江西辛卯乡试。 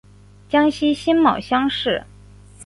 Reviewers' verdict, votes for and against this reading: accepted, 2, 0